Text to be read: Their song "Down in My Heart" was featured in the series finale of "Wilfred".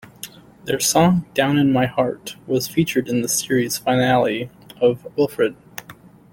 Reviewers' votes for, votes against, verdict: 2, 0, accepted